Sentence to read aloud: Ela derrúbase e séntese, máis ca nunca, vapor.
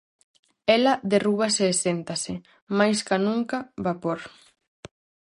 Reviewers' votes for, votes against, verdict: 0, 4, rejected